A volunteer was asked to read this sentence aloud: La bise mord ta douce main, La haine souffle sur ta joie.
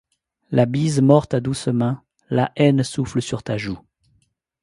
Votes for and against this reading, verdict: 1, 2, rejected